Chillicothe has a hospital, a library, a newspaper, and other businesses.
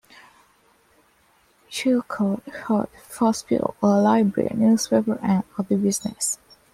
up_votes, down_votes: 1, 2